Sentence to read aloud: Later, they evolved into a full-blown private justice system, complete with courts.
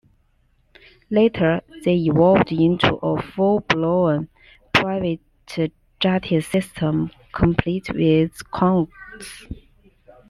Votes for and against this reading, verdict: 0, 2, rejected